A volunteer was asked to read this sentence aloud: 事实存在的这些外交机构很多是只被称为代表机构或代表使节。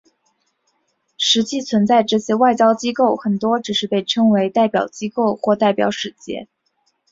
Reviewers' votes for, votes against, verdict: 3, 0, accepted